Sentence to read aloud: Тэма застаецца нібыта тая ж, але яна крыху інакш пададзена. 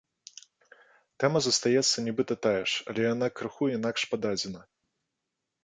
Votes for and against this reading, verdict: 2, 0, accepted